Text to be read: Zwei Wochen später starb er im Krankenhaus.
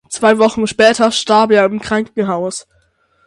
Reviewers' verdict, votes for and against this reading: accepted, 6, 0